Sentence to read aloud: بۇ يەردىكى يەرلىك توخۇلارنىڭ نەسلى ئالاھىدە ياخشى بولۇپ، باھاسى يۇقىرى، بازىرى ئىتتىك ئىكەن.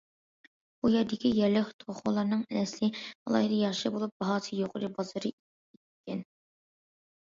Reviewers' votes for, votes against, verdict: 0, 2, rejected